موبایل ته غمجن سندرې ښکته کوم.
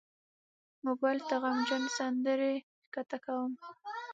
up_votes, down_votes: 0, 6